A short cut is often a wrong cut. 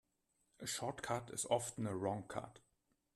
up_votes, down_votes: 2, 0